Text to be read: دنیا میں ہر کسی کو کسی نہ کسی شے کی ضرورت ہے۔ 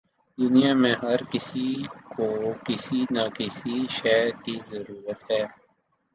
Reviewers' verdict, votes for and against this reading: accepted, 2, 0